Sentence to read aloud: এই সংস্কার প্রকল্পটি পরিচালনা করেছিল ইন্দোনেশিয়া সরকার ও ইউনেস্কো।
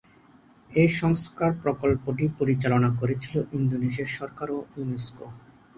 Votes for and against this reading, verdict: 4, 0, accepted